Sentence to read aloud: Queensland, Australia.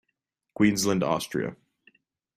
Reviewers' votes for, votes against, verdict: 2, 0, accepted